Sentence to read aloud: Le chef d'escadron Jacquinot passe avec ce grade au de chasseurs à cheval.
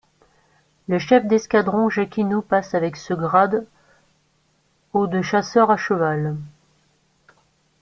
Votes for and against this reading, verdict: 1, 2, rejected